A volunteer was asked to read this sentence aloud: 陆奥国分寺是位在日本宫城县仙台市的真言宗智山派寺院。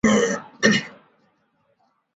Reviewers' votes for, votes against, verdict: 0, 2, rejected